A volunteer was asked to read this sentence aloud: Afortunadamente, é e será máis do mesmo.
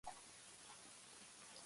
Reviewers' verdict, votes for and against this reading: rejected, 0, 2